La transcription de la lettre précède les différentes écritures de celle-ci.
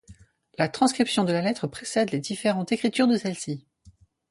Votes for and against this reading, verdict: 2, 2, rejected